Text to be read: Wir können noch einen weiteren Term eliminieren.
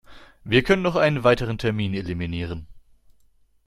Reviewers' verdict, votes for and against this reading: rejected, 1, 2